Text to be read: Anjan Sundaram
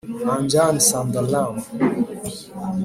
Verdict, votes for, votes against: rejected, 2, 3